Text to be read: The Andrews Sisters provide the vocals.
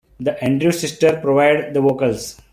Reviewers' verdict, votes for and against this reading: rejected, 1, 2